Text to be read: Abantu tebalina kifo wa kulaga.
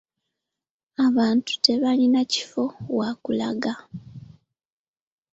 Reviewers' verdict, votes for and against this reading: accepted, 2, 0